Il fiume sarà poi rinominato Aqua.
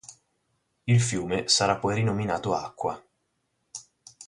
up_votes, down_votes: 4, 0